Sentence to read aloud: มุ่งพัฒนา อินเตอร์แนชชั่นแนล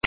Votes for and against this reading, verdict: 0, 2, rejected